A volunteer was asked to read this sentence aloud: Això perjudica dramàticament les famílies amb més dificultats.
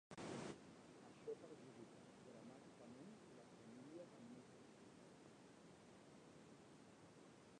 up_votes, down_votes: 0, 2